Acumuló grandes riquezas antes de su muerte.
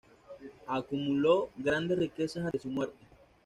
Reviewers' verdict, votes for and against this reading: rejected, 1, 2